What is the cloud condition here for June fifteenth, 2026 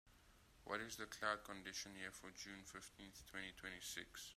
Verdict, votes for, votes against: rejected, 0, 2